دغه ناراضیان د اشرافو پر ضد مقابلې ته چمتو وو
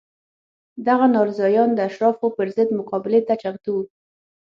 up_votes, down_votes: 6, 0